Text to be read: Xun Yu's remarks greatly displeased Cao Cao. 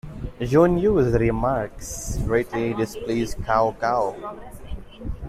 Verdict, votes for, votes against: rejected, 0, 2